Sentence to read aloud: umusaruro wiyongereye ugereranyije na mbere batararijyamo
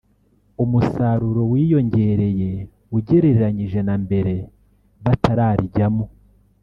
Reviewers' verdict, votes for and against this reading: rejected, 1, 2